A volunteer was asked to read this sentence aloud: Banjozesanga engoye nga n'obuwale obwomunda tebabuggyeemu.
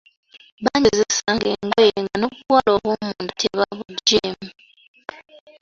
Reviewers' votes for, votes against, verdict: 2, 1, accepted